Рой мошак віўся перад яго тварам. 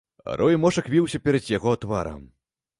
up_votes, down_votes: 0, 2